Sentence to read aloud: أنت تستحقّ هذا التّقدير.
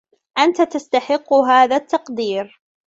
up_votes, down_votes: 0, 2